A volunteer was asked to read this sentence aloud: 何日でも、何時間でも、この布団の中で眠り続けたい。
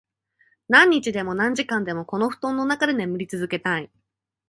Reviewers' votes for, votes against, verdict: 2, 0, accepted